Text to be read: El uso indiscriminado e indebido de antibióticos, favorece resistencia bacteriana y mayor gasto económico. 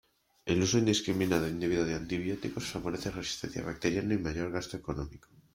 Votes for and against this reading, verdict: 2, 1, accepted